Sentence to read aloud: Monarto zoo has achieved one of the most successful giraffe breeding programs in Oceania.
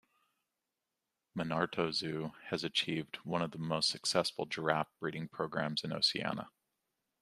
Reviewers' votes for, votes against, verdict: 2, 0, accepted